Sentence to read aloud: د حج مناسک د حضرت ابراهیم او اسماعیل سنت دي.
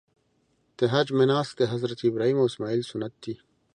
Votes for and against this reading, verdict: 2, 0, accepted